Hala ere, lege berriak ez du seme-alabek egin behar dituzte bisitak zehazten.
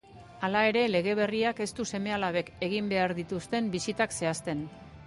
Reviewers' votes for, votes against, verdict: 1, 2, rejected